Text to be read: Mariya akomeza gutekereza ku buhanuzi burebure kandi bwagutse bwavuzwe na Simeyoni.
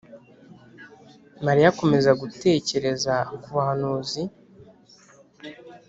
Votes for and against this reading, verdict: 0, 2, rejected